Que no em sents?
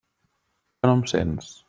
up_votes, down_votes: 1, 2